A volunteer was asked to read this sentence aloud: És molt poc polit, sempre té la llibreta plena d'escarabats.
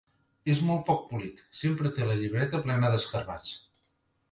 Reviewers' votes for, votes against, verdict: 2, 1, accepted